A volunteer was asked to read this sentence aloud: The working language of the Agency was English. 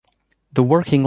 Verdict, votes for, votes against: rejected, 1, 2